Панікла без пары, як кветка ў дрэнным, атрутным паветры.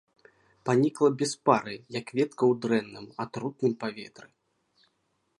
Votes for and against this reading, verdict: 1, 2, rejected